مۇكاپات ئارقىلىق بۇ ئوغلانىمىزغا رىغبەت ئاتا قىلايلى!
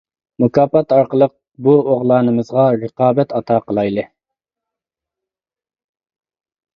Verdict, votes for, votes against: rejected, 0, 2